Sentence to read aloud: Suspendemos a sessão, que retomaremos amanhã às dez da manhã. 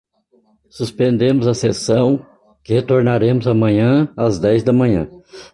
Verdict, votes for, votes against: rejected, 0, 2